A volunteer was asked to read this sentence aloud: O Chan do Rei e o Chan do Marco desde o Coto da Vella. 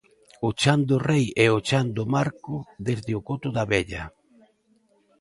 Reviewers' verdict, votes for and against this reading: accepted, 2, 0